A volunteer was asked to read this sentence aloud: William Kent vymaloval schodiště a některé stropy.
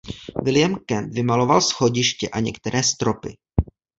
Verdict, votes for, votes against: accepted, 2, 1